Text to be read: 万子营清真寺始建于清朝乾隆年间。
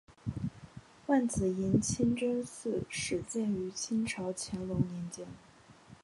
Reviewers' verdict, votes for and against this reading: accepted, 3, 0